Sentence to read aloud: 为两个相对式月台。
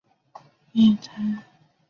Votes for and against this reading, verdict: 0, 3, rejected